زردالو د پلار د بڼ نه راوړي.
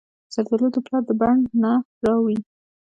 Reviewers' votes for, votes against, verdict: 2, 1, accepted